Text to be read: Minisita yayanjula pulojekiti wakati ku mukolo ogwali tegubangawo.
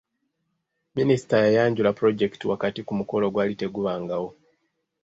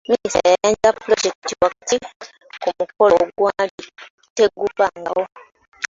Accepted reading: first